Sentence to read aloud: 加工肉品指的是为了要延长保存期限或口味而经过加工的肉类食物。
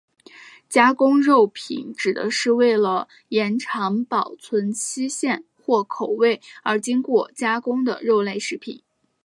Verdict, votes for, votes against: rejected, 0, 2